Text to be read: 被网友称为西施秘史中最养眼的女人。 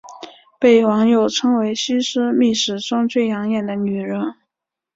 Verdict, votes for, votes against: accepted, 2, 0